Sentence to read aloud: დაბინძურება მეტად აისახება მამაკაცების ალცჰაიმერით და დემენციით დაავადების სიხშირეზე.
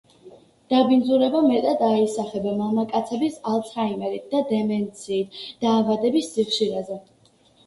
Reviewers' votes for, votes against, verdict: 2, 0, accepted